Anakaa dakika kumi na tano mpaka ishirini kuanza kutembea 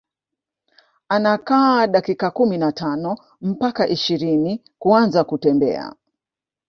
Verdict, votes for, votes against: rejected, 0, 2